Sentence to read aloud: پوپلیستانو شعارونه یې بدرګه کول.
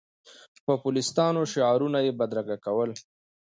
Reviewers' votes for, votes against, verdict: 2, 0, accepted